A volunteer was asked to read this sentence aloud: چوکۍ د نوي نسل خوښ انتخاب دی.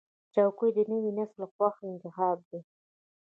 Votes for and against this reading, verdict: 2, 0, accepted